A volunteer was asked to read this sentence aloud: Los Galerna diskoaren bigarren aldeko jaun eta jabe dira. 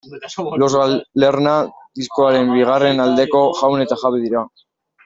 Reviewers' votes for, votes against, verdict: 1, 2, rejected